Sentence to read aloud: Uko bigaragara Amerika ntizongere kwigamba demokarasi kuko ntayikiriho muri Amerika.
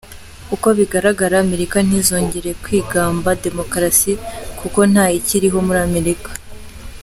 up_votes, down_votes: 3, 0